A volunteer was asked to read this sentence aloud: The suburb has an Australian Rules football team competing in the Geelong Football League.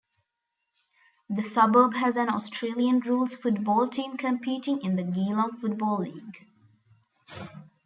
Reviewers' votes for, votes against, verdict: 2, 0, accepted